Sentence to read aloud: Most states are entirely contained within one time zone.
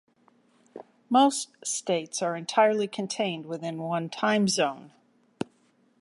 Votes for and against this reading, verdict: 2, 0, accepted